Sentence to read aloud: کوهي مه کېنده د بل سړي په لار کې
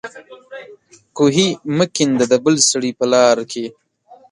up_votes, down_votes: 2, 0